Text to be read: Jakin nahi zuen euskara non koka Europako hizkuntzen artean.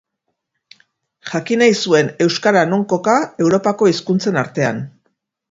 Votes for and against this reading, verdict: 4, 0, accepted